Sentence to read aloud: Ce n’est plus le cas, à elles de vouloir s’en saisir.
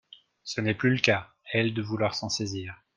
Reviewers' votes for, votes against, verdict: 2, 0, accepted